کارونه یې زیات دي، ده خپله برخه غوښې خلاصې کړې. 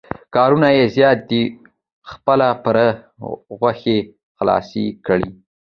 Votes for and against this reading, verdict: 2, 0, accepted